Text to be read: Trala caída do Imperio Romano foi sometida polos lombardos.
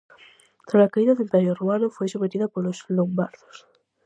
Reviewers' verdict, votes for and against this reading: accepted, 4, 0